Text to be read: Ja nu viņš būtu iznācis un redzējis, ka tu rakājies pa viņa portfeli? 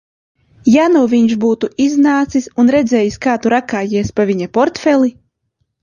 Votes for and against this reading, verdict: 0, 2, rejected